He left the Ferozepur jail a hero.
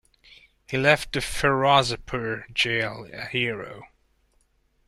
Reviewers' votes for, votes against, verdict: 2, 0, accepted